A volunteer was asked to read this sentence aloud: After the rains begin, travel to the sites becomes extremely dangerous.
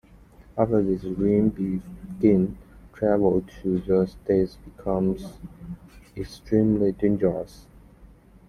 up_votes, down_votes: 0, 3